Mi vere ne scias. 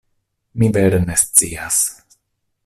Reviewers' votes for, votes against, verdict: 2, 0, accepted